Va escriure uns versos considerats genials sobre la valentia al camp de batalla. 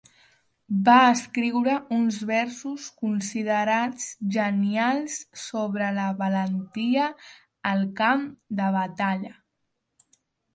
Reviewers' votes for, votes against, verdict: 3, 1, accepted